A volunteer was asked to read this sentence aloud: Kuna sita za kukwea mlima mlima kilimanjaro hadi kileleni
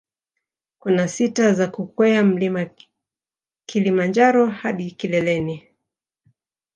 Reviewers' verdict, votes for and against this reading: accepted, 2, 0